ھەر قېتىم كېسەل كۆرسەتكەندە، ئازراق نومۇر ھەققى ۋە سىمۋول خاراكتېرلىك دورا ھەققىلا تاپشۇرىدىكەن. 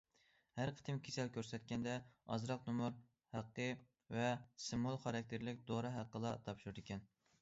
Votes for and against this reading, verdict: 2, 0, accepted